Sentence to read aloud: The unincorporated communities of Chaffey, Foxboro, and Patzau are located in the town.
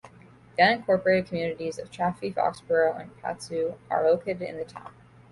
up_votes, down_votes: 1, 2